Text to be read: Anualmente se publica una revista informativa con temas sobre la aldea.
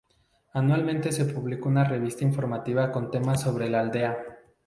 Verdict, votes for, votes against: rejected, 0, 2